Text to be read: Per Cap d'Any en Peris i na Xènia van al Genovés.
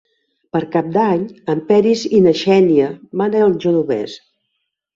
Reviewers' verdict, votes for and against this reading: accepted, 2, 0